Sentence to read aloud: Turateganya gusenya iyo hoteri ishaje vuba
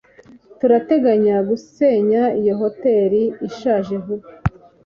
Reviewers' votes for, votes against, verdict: 2, 0, accepted